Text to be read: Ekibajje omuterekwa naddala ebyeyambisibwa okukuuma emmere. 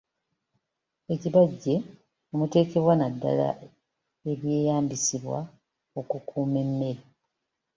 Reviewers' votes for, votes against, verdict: 3, 2, accepted